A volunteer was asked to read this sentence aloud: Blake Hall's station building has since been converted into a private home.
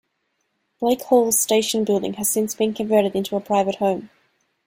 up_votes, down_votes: 2, 0